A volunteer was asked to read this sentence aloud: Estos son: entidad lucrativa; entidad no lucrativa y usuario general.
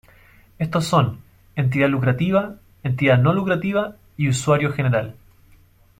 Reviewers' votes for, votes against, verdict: 2, 0, accepted